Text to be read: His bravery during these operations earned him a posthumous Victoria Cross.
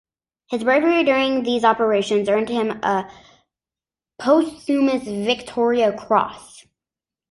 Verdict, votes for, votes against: rejected, 0, 2